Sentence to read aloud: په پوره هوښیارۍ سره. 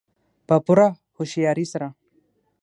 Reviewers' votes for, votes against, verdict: 3, 6, rejected